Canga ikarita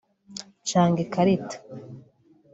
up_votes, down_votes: 2, 0